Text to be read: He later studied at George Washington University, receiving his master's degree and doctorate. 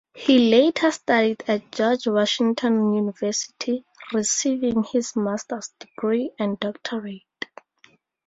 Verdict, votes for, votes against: accepted, 2, 0